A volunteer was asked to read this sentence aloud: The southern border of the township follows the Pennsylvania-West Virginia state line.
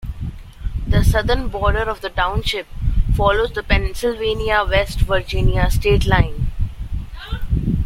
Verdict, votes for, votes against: accepted, 2, 1